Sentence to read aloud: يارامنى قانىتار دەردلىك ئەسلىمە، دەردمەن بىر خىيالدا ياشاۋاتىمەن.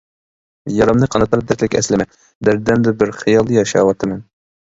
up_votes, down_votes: 0, 2